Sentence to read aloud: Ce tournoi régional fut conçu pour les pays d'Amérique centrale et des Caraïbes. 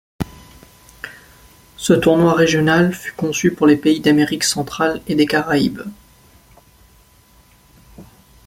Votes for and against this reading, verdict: 2, 0, accepted